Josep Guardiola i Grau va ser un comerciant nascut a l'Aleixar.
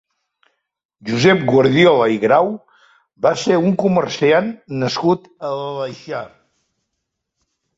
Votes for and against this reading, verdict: 3, 0, accepted